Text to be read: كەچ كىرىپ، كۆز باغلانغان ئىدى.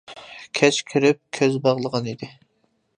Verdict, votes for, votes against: rejected, 0, 2